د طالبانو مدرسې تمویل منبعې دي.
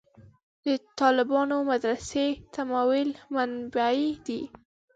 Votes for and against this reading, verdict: 0, 2, rejected